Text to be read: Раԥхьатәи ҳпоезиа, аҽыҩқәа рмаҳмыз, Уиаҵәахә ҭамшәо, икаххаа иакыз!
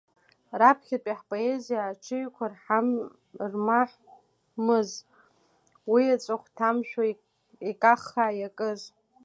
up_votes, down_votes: 0, 2